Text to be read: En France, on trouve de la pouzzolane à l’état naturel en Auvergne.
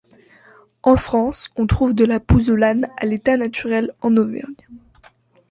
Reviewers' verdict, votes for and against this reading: accepted, 2, 1